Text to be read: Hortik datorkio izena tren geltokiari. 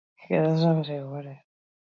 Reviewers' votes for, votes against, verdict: 0, 4, rejected